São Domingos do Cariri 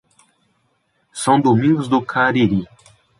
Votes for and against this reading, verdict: 2, 0, accepted